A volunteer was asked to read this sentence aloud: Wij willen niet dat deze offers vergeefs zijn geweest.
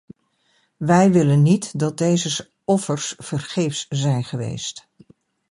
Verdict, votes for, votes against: rejected, 0, 2